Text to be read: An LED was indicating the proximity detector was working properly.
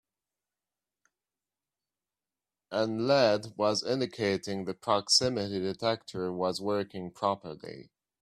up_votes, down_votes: 0, 2